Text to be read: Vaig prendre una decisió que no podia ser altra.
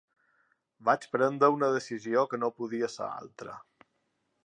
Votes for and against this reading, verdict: 3, 0, accepted